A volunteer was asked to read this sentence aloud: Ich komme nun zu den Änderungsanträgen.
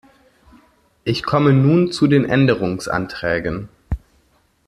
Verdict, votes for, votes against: accepted, 2, 0